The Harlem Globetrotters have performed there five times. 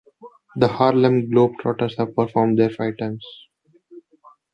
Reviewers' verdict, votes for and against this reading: accepted, 2, 1